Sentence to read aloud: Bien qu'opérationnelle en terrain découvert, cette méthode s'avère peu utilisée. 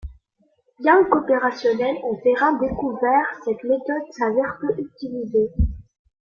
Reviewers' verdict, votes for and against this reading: rejected, 0, 2